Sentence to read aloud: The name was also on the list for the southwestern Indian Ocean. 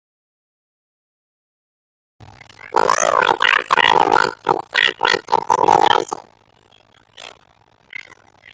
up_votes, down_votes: 0, 2